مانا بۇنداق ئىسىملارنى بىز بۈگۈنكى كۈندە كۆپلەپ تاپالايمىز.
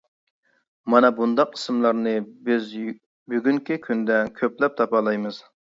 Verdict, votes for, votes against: rejected, 0, 2